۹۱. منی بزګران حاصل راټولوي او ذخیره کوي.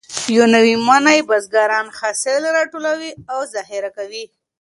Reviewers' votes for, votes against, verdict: 0, 2, rejected